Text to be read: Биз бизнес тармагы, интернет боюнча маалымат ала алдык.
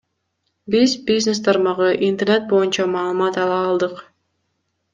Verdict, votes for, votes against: accepted, 2, 0